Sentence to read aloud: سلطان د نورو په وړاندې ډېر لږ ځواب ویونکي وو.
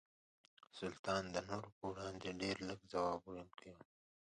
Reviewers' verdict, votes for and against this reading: accepted, 2, 1